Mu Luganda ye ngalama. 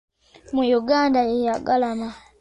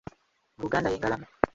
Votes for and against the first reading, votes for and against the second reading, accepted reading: 2, 0, 1, 2, first